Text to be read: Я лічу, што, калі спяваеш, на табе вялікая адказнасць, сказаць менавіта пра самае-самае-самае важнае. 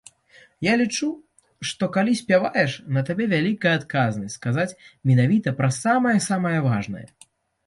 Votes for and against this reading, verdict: 0, 2, rejected